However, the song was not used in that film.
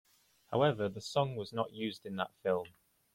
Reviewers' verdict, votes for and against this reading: accepted, 2, 0